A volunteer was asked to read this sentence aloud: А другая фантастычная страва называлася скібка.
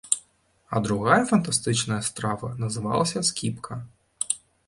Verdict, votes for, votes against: accepted, 2, 0